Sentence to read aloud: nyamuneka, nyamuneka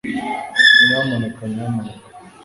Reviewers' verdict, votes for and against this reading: accepted, 2, 0